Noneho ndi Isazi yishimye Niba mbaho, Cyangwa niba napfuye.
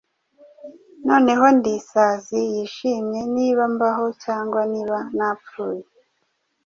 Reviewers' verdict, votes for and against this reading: accepted, 2, 0